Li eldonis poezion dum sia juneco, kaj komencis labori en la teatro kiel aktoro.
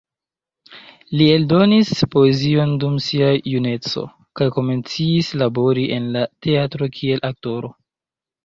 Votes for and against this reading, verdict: 0, 2, rejected